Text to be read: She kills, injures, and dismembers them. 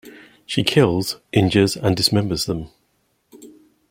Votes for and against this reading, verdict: 0, 2, rejected